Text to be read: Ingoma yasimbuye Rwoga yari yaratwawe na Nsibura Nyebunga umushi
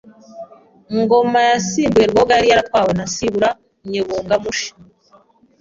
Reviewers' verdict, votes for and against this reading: rejected, 1, 2